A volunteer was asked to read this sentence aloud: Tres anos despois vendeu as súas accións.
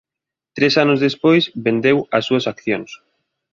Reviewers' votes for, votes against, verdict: 2, 0, accepted